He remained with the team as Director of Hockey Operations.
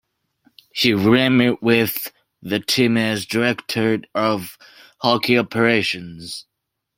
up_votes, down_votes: 0, 2